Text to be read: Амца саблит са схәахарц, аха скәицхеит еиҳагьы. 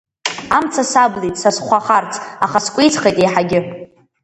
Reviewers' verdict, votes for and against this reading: accepted, 2, 0